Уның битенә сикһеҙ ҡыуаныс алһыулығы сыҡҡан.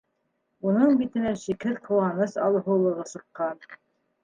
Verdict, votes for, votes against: rejected, 0, 2